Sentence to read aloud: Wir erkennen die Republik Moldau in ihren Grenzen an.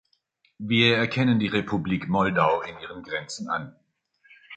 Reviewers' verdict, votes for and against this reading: accepted, 2, 0